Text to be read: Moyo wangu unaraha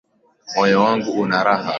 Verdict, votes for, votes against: rejected, 1, 2